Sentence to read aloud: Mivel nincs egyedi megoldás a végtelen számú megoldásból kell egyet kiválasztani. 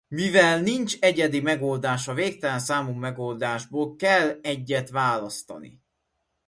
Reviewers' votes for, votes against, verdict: 0, 2, rejected